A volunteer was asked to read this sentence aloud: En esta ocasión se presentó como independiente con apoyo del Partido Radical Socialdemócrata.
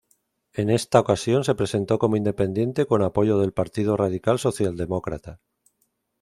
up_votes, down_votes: 2, 0